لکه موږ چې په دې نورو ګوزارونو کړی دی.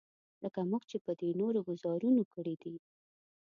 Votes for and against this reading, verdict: 0, 2, rejected